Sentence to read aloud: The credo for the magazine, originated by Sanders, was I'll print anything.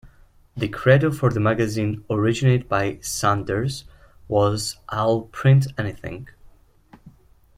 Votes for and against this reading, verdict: 2, 0, accepted